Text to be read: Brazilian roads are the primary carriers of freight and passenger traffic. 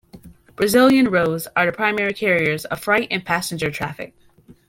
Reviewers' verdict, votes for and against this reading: accepted, 2, 0